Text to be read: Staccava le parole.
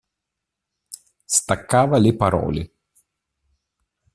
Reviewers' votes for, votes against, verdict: 2, 0, accepted